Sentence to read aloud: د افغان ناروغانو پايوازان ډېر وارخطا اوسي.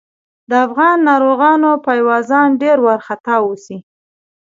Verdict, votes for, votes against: rejected, 0, 2